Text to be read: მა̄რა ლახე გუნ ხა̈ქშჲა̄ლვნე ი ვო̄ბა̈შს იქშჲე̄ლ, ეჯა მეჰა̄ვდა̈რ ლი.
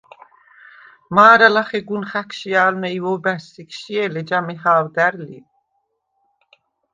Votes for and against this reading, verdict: 2, 0, accepted